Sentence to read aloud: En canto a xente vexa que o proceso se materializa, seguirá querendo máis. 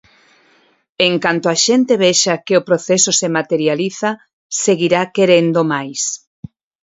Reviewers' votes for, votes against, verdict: 4, 0, accepted